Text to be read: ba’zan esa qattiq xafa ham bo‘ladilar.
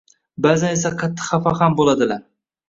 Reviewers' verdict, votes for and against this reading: rejected, 1, 2